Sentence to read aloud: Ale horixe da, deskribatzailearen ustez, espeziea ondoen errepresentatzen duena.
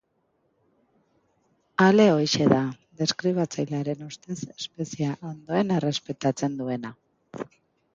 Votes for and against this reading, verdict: 0, 2, rejected